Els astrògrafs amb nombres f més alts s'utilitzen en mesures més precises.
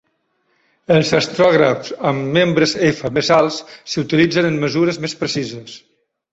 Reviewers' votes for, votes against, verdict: 0, 2, rejected